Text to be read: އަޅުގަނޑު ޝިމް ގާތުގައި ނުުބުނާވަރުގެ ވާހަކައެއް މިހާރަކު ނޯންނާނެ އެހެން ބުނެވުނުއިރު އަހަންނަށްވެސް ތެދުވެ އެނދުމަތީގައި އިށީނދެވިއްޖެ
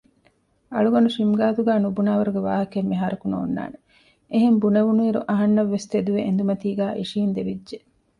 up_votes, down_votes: 2, 0